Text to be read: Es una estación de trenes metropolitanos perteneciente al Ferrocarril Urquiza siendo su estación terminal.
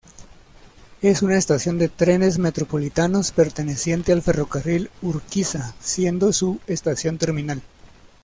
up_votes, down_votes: 2, 0